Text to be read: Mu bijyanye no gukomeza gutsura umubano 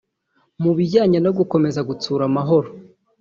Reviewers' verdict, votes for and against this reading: rejected, 1, 2